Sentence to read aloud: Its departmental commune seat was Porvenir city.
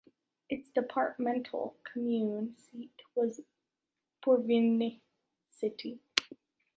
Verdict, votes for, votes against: rejected, 0, 2